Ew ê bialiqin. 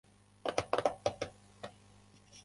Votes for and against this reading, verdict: 0, 2, rejected